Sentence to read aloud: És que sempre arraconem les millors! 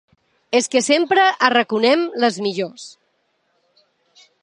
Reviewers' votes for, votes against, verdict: 2, 1, accepted